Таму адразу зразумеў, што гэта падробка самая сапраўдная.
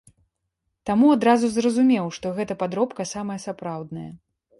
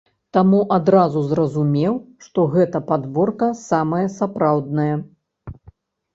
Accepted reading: first